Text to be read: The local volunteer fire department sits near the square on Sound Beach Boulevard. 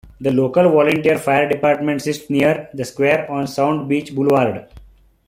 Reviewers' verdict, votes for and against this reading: accepted, 2, 0